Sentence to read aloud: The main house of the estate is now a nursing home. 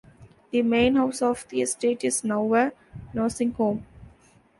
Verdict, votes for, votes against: accepted, 2, 0